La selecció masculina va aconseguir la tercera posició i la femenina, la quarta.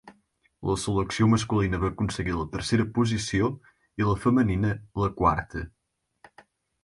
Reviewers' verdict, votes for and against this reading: accepted, 4, 2